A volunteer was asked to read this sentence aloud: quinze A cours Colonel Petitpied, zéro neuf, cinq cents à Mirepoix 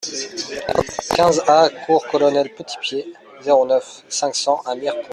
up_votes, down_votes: 1, 2